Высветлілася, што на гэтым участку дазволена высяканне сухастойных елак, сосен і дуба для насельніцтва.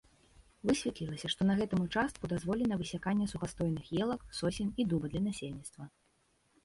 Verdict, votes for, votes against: accepted, 2, 0